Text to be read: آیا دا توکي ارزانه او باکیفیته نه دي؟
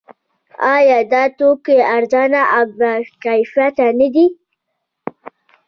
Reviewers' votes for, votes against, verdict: 1, 2, rejected